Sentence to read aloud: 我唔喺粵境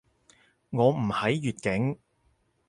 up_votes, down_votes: 4, 0